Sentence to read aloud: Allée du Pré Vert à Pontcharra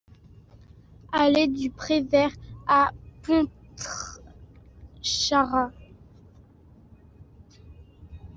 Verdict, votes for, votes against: rejected, 1, 2